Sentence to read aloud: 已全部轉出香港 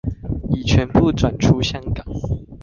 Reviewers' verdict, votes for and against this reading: accepted, 2, 0